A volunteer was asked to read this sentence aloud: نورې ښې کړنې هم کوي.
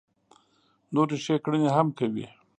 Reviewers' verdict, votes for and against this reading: accepted, 2, 0